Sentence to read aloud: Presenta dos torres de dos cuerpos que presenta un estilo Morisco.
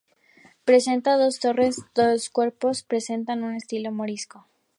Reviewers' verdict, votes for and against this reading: rejected, 0, 2